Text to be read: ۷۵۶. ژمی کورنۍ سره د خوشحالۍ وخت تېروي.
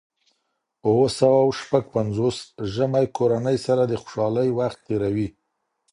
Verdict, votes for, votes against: rejected, 0, 2